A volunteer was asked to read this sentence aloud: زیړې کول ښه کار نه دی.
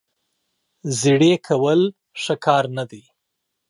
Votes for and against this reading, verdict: 0, 2, rejected